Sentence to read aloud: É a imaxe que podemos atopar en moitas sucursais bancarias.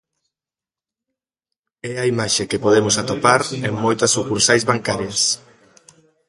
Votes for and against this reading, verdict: 2, 1, accepted